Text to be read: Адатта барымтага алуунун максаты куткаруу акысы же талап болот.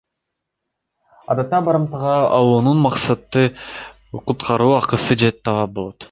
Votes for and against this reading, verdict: 1, 2, rejected